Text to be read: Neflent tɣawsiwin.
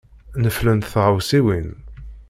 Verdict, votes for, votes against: accepted, 2, 0